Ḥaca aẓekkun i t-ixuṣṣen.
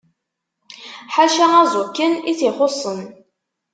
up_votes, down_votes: 0, 2